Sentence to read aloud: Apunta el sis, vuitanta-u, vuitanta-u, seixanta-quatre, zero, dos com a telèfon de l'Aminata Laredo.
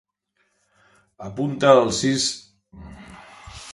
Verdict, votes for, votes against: rejected, 0, 2